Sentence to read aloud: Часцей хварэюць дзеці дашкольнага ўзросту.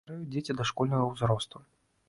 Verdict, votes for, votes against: rejected, 1, 2